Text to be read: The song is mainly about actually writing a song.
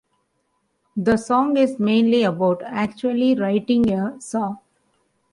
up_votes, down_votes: 2, 0